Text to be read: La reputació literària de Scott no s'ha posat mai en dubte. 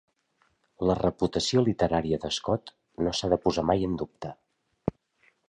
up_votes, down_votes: 0, 2